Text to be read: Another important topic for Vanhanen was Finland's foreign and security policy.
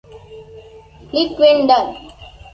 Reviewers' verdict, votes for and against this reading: rejected, 0, 2